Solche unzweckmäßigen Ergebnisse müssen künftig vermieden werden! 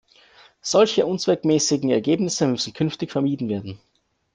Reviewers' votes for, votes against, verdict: 2, 0, accepted